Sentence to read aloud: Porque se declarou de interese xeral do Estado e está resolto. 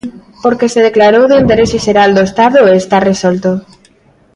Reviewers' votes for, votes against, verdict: 2, 0, accepted